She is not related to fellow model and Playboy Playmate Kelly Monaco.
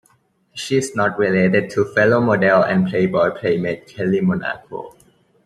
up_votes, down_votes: 2, 1